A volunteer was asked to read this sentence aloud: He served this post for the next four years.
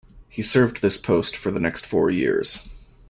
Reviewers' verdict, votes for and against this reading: accepted, 2, 0